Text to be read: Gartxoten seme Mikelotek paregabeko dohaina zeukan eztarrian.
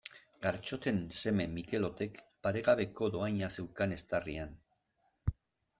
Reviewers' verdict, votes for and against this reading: accepted, 2, 0